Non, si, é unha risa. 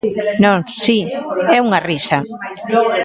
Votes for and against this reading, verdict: 0, 2, rejected